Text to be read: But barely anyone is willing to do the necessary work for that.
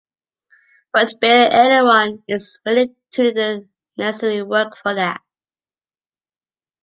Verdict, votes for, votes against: rejected, 1, 2